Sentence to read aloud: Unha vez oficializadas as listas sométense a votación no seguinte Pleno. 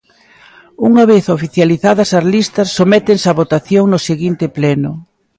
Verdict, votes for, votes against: accepted, 2, 0